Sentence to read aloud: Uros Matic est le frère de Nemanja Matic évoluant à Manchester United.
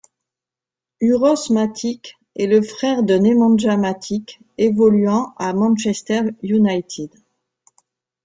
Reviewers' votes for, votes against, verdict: 2, 0, accepted